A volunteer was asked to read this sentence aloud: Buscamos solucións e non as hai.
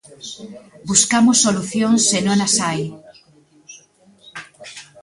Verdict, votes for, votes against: rejected, 1, 2